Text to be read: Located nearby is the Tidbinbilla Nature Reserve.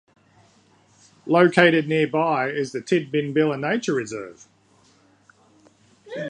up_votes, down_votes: 2, 0